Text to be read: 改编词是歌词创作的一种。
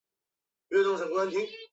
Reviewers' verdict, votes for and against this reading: rejected, 0, 3